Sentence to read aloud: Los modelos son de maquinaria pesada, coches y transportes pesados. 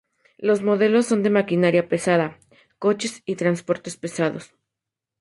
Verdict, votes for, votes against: accepted, 2, 0